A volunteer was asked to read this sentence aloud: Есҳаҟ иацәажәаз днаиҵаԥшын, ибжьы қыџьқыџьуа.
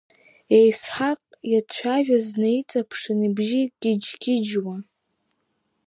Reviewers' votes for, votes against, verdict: 2, 0, accepted